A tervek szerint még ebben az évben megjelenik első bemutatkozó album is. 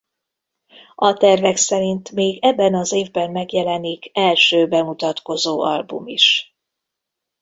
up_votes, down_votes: 2, 0